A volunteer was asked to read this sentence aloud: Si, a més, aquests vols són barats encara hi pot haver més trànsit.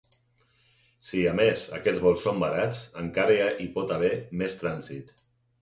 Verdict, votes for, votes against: rejected, 2, 4